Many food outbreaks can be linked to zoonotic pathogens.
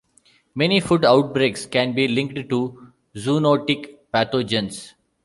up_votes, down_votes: 2, 0